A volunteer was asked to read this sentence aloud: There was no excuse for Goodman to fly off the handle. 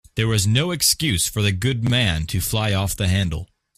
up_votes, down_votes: 0, 2